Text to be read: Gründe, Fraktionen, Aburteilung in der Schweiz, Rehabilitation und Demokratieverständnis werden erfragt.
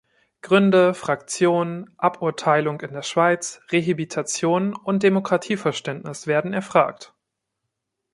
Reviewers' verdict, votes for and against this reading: accepted, 2, 0